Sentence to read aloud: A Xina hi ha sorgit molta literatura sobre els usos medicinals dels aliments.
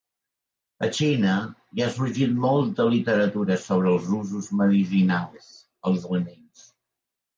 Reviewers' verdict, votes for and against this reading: rejected, 0, 2